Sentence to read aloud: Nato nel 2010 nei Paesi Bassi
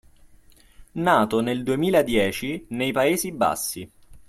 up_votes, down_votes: 0, 2